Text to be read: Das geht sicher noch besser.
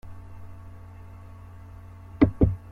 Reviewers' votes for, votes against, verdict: 0, 2, rejected